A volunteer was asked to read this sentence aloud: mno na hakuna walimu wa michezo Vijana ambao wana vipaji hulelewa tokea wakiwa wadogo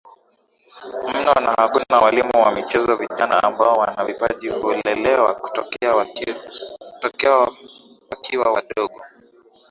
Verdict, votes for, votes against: accepted, 31, 8